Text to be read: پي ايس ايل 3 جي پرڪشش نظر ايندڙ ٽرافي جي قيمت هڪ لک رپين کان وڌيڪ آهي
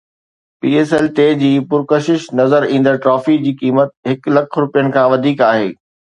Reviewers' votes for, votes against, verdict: 0, 2, rejected